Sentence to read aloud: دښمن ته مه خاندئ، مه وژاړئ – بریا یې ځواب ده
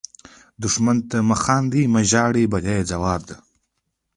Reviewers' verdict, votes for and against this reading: accepted, 2, 0